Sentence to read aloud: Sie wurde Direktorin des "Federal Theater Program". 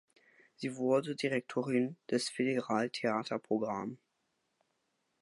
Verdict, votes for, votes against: rejected, 0, 2